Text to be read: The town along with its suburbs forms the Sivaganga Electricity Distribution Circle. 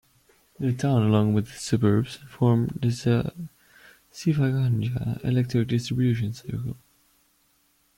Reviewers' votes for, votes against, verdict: 0, 2, rejected